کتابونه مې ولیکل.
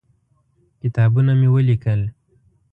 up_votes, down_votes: 2, 0